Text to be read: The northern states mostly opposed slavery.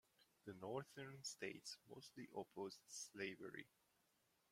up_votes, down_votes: 0, 2